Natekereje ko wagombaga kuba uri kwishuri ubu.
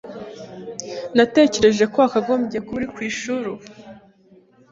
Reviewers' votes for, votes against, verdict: 1, 2, rejected